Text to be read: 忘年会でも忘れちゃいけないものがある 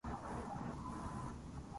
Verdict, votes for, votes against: rejected, 0, 2